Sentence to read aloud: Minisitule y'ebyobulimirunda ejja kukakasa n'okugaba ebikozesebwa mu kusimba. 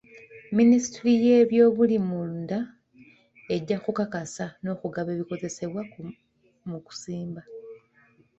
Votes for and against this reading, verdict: 1, 2, rejected